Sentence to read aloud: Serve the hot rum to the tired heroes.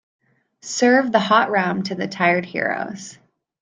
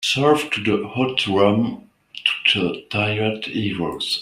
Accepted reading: first